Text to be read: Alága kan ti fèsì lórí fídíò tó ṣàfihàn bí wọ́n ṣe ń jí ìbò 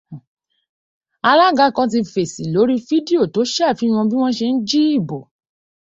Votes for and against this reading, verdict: 2, 0, accepted